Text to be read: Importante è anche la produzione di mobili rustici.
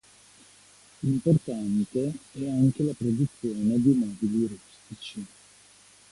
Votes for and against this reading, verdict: 1, 2, rejected